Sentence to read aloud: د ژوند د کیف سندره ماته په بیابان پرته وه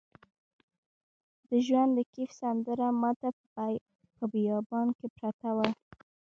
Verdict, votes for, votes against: rejected, 0, 2